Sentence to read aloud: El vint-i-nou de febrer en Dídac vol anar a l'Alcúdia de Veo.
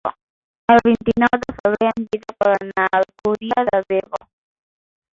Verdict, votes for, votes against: rejected, 2, 3